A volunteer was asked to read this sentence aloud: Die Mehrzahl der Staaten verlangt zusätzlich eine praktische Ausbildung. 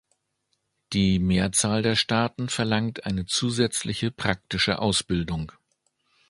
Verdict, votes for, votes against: rejected, 1, 2